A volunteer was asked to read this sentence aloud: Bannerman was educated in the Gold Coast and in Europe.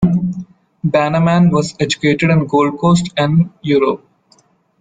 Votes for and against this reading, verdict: 1, 2, rejected